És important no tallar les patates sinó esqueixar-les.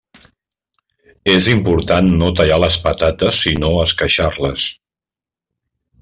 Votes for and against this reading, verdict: 2, 0, accepted